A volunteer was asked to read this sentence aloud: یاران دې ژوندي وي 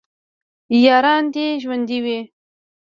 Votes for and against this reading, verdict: 2, 0, accepted